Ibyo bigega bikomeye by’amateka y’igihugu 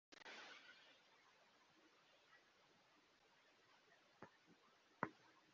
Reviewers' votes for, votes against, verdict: 1, 3, rejected